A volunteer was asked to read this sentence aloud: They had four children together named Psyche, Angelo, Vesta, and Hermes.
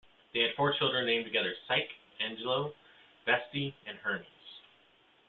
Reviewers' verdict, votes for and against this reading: rejected, 0, 2